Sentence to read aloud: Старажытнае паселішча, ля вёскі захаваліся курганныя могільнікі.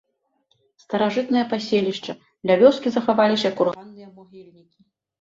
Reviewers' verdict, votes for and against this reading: rejected, 0, 2